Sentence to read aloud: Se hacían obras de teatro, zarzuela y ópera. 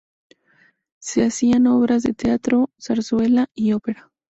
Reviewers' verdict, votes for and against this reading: accepted, 4, 0